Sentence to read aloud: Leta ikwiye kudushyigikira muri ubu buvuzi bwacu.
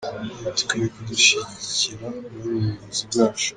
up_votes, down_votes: 1, 2